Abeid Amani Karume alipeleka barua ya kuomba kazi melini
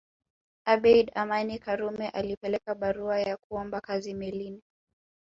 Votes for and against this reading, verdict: 1, 2, rejected